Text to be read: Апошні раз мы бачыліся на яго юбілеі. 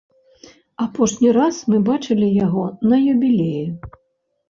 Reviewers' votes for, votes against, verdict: 0, 2, rejected